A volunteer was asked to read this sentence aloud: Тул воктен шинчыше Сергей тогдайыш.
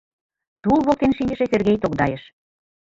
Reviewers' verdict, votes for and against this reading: rejected, 1, 2